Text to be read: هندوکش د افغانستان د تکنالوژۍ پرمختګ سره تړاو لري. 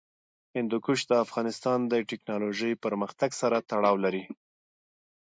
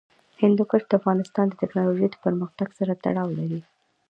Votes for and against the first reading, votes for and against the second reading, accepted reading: 2, 0, 1, 2, first